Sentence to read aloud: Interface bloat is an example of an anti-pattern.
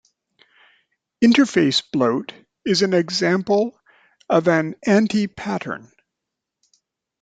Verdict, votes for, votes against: accepted, 2, 0